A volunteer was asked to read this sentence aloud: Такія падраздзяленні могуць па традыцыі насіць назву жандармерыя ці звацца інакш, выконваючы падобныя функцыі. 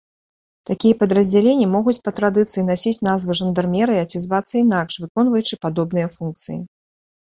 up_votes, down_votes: 4, 0